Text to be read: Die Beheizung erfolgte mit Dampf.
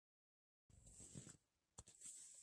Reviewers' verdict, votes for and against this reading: rejected, 0, 2